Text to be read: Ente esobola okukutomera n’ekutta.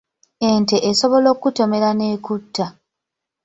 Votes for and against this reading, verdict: 2, 0, accepted